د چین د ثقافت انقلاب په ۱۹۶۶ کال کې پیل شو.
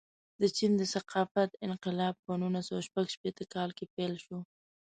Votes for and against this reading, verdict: 0, 2, rejected